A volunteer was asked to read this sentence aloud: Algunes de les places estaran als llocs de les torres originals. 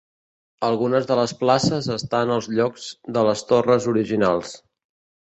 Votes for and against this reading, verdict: 2, 3, rejected